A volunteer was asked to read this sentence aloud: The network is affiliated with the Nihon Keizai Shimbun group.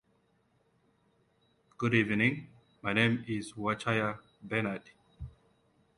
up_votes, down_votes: 0, 2